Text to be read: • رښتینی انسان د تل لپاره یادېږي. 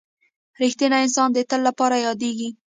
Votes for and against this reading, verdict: 0, 2, rejected